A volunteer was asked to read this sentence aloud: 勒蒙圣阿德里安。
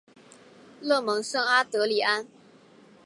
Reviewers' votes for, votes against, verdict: 2, 0, accepted